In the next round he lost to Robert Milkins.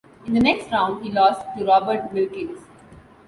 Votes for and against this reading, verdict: 2, 0, accepted